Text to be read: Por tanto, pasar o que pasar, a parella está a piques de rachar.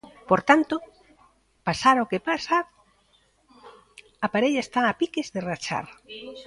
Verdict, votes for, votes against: rejected, 0, 2